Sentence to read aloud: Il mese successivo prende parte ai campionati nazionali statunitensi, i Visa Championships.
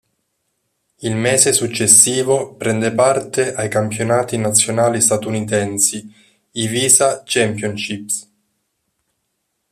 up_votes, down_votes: 1, 2